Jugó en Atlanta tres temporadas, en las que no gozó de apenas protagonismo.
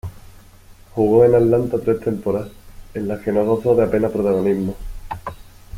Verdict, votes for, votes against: rejected, 1, 2